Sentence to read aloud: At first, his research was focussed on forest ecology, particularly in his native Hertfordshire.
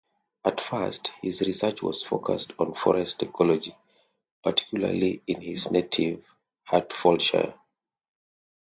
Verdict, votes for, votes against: accepted, 2, 0